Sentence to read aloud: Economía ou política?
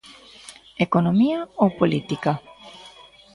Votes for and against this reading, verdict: 0, 2, rejected